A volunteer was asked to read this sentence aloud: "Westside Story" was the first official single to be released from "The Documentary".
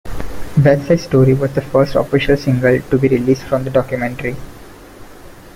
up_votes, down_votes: 2, 0